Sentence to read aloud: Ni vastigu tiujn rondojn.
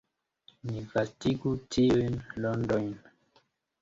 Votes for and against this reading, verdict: 2, 0, accepted